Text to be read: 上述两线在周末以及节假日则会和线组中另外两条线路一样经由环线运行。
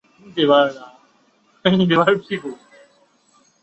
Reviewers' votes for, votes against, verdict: 0, 3, rejected